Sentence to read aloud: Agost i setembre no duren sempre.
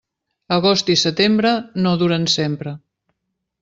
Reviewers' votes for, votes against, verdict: 3, 0, accepted